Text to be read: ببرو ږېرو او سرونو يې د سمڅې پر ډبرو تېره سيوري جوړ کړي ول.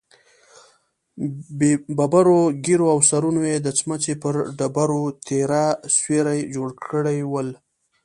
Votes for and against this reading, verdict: 2, 0, accepted